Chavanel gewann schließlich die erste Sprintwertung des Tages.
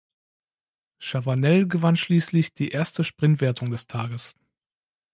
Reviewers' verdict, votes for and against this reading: accepted, 2, 0